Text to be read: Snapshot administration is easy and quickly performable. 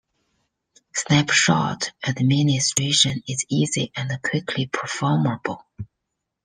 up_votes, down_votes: 2, 0